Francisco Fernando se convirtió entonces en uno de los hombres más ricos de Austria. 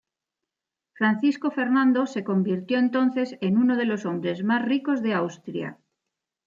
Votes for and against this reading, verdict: 2, 0, accepted